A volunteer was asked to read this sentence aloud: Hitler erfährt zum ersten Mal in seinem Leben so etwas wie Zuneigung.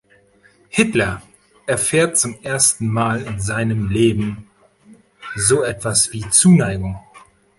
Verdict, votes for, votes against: accepted, 2, 0